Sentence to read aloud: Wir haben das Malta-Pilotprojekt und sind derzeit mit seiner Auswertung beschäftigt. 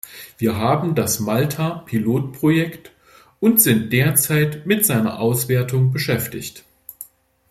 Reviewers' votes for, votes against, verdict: 2, 0, accepted